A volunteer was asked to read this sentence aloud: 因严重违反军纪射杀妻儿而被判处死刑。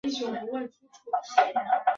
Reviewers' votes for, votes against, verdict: 0, 4, rejected